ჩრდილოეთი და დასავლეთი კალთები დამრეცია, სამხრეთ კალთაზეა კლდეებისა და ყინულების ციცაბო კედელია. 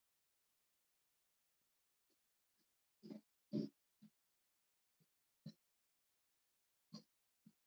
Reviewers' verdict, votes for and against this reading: rejected, 1, 2